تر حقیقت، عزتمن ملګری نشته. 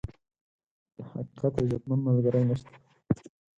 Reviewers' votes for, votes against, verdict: 2, 4, rejected